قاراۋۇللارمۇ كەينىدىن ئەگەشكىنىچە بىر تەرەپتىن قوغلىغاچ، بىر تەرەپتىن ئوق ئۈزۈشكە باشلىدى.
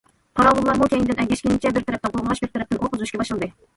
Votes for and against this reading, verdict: 0, 2, rejected